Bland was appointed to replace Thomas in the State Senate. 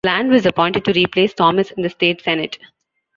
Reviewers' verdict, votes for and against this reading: accepted, 2, 0